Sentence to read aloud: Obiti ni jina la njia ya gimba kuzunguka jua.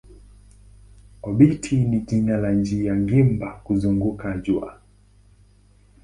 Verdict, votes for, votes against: rejected, 1, 2